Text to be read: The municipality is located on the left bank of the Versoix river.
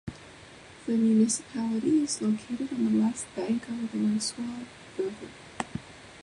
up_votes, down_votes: 0, 3